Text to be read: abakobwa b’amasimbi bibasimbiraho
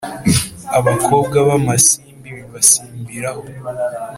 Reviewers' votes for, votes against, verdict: 2, 0, accepted